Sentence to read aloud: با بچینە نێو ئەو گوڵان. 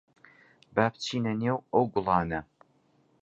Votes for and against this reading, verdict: 0, 2, rejected